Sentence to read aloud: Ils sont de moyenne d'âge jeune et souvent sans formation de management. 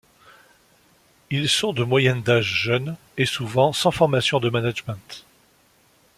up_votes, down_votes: 2, 0